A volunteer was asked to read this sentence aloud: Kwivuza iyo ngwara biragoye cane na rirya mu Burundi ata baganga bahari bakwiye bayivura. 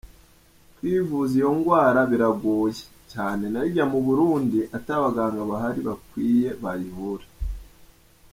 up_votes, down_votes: 0, 2